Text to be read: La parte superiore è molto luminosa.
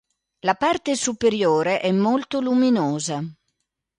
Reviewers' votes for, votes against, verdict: 2, 0, accepted